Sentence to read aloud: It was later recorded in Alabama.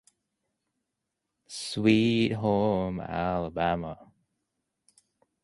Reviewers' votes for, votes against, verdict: 0, 2, rejected